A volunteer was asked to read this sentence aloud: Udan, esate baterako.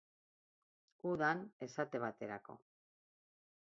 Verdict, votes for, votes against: accepted, 10, 0